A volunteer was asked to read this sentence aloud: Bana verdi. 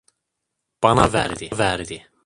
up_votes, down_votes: 0, 2